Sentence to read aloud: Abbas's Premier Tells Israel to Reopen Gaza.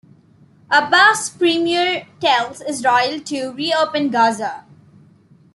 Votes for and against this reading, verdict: 2, 0, accepted